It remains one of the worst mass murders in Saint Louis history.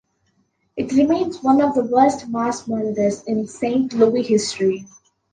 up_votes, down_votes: 0, 2